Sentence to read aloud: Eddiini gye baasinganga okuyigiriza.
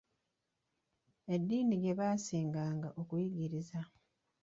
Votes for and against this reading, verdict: 2, 1, accepted